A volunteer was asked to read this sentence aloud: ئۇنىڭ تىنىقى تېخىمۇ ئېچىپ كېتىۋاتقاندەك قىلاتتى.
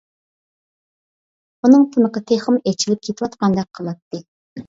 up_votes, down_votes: 2, 0